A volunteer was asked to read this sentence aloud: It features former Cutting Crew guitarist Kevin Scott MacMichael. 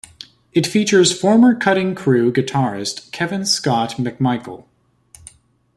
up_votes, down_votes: 2, 0